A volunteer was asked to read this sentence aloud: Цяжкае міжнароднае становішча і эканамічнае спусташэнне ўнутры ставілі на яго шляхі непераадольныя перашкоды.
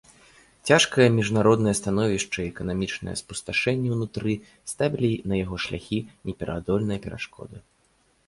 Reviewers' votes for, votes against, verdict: 2, 0, accepted